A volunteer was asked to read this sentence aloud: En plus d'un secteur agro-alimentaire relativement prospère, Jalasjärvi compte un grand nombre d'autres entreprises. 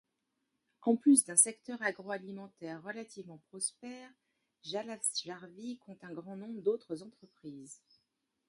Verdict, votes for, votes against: accepted, 2, 1